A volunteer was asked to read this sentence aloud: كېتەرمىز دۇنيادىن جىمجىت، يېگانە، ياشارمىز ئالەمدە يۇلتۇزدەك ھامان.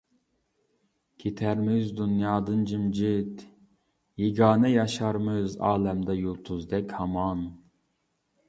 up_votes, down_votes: 2, 0